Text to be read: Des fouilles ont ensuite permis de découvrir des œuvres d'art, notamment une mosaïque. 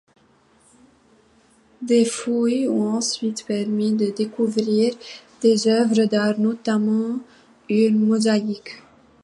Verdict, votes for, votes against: accepted, 2, 1